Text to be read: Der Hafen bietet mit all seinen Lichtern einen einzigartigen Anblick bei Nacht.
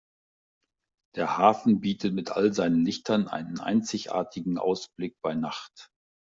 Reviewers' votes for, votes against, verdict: 0, 2, rejected